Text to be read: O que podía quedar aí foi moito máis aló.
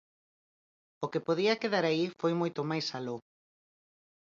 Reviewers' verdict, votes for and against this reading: accepted, 4, 0